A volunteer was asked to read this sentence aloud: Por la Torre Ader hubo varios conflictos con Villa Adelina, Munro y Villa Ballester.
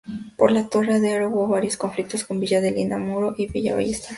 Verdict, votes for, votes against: accepted, 2, 0